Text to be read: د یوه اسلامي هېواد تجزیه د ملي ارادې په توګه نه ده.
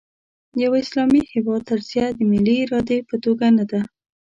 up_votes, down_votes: 2, 0